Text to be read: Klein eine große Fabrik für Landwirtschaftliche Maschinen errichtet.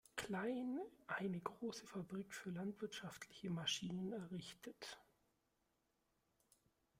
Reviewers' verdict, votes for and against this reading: rejected, 1, 2